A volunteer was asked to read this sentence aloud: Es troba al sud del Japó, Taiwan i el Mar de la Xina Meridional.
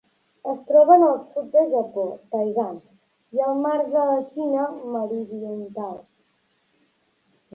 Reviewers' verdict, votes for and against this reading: rejected, 0, 2